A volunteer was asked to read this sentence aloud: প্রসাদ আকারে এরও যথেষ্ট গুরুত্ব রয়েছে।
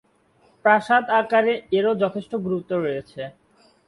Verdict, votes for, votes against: accepted, 2, 0